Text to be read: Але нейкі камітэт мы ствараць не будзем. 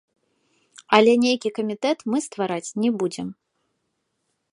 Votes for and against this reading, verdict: 2, 0, accepted